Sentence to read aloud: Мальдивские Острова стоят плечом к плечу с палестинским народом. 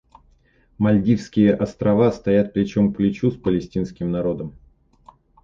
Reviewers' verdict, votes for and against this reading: accepted, 2, 0